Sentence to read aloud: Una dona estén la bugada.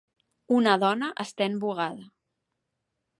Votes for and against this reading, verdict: 1, 2, rejected